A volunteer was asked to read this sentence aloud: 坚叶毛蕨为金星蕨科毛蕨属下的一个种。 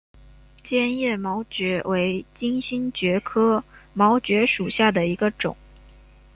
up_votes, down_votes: 2, 1